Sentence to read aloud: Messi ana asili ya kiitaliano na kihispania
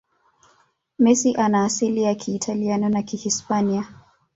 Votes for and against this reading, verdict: 2, 0, accepted